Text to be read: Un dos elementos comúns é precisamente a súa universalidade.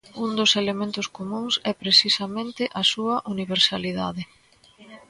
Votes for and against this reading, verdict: 2, 0, accepted